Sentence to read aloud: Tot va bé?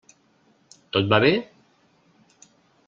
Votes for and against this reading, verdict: 3, 0, accepted